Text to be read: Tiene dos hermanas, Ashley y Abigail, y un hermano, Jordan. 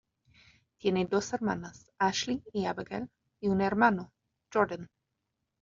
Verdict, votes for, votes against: rejected, 1, 2